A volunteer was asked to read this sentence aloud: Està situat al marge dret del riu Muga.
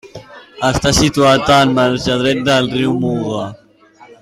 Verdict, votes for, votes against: accepted, 2, 1